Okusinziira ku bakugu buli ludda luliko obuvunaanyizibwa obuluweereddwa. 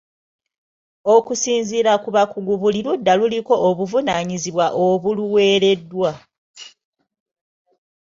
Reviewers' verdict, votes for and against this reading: accepted, 2, 1